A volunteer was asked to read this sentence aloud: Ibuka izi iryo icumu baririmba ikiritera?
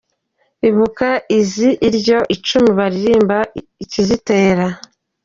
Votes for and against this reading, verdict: 0, 2, rejected